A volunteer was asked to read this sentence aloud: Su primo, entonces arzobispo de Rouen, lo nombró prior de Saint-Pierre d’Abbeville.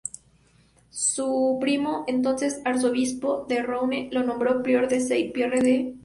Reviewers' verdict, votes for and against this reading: rejected, 0, 2